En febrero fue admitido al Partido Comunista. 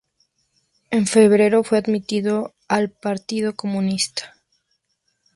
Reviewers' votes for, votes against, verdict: 2, 0, accepted